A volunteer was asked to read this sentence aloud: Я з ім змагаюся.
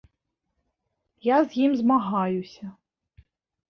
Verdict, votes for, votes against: accepted, 2, 1